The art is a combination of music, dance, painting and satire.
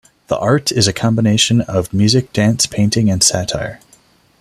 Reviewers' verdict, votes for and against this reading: accepted, 2, 0